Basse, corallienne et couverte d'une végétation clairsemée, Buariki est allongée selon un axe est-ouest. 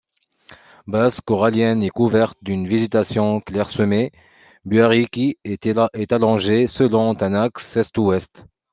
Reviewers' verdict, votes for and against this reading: rejected, 0, 2